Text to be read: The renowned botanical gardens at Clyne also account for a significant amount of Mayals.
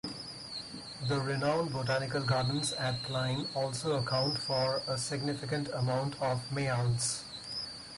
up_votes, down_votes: 4, 0